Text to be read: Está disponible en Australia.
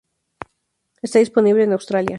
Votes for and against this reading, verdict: 4, 0, accepted